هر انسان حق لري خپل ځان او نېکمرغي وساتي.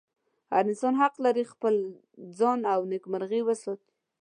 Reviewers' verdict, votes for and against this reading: accepted, 2, 0